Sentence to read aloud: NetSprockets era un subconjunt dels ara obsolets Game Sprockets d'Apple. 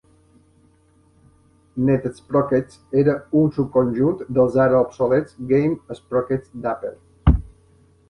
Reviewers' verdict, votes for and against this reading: accepted, 2, 0